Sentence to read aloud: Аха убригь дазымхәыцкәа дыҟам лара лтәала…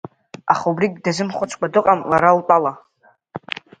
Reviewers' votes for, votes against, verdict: 2, 0, accepted